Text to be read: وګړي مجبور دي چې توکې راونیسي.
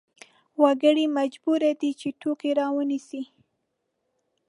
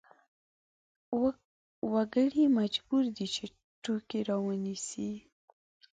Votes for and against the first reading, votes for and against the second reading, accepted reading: 2, 0, 1, 2, first